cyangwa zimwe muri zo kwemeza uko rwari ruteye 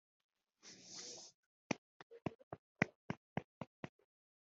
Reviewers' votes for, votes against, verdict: 0, 3, rejected